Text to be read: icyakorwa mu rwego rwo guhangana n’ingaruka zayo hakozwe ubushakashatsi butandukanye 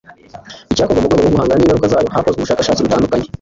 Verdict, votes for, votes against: rejected, 1, 2